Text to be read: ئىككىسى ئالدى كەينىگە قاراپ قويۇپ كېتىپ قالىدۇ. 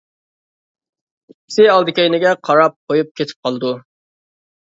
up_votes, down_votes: 2, 1